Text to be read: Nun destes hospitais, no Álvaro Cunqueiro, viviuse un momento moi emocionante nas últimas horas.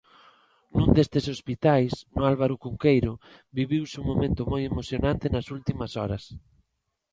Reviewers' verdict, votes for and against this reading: accepted, 2, 0